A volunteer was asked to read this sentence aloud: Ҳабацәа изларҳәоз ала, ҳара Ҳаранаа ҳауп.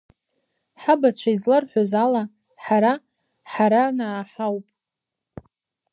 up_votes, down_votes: 2, 0